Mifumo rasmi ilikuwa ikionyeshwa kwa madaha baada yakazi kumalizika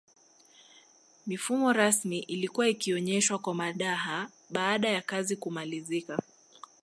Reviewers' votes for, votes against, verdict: 1, 2, rejected